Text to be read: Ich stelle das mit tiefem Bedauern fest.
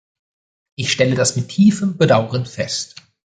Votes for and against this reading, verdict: 0, 2, rejected